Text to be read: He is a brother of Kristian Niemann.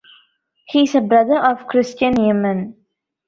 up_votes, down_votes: 1, 2